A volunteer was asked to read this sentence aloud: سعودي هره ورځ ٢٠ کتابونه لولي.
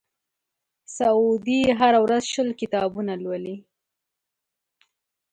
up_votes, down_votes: 0, 2